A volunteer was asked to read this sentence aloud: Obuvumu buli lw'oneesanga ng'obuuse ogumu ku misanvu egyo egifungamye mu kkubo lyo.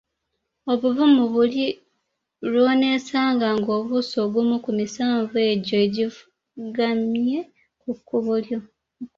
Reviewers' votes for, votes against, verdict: 0, 2, rejected